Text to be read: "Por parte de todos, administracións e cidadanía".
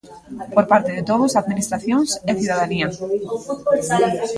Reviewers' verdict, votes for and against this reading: accepted, 2, 1